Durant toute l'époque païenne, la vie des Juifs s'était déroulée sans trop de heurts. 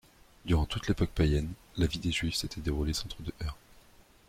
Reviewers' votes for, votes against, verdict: 0, 2, rejected